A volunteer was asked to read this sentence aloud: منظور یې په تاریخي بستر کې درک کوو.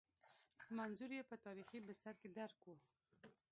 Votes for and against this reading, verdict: 1, 2, rejected